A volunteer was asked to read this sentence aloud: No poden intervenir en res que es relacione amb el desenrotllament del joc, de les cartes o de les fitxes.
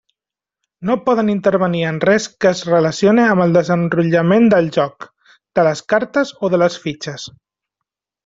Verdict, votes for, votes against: accepted, 3, 0